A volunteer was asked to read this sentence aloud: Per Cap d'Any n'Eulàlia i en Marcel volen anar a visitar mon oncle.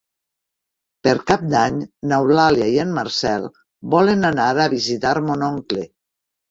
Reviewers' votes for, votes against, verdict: 3, 1, accepted